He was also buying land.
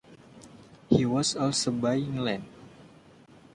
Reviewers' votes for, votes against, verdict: 2, 1, accepted